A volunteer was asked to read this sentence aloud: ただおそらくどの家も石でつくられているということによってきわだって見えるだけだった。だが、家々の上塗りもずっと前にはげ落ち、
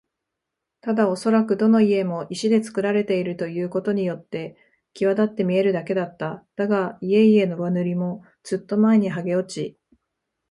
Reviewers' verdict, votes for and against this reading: accepted, 2, 0